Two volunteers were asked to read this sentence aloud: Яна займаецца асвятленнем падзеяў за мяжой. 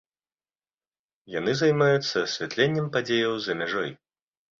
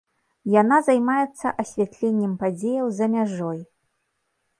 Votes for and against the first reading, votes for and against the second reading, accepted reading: 0, 2, 3, 0, second